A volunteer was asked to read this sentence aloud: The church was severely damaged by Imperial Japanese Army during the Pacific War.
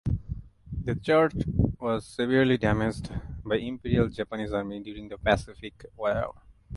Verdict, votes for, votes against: rejected, 1, 2